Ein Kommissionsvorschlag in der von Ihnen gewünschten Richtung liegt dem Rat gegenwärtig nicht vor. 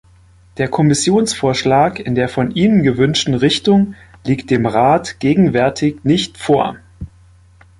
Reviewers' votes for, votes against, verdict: 0, 2, rejected